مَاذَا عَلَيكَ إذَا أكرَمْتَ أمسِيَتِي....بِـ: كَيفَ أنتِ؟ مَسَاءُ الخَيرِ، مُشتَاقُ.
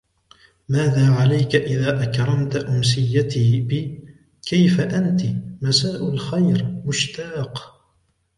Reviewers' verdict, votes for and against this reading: accepted, 2, 1